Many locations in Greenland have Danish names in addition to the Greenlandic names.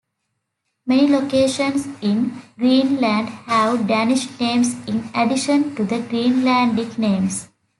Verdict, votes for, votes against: rejected, 1, 2